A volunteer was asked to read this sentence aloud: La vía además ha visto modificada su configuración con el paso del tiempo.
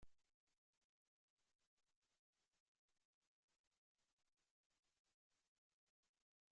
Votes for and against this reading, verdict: 0, 2, rejected